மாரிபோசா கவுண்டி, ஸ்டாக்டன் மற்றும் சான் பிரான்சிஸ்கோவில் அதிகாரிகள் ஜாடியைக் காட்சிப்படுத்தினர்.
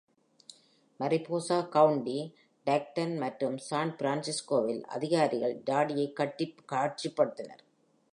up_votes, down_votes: 2, 3